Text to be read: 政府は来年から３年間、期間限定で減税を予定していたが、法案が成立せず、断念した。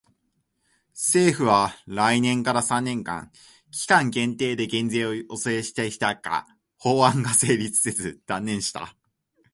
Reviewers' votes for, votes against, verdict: 0, 2, rejected